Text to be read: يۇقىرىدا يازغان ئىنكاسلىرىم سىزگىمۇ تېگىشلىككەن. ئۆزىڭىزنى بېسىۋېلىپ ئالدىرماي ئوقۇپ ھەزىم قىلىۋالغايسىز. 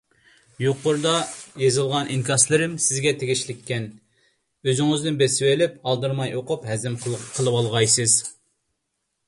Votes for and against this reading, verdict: 0, 2, rejected